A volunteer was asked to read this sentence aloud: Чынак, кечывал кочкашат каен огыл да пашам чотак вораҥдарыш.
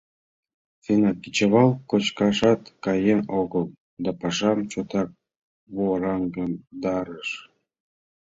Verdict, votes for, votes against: accepted, 2, 0